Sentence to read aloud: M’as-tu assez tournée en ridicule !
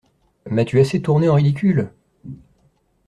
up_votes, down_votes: 2, 0